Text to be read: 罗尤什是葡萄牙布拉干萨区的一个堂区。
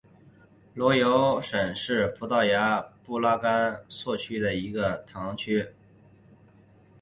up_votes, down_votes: 0, 2